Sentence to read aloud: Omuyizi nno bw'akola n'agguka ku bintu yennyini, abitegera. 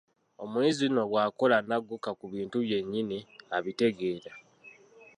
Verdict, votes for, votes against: rejected, 1, 2